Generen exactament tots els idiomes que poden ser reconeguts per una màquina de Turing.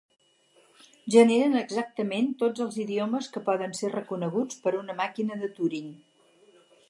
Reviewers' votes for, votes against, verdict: 4, 0, accepted